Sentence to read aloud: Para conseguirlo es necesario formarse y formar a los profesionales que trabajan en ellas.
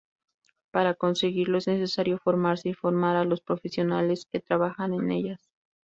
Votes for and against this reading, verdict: 0, 2, rejected